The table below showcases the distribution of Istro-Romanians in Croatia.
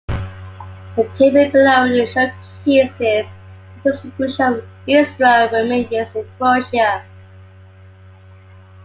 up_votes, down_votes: 1, 2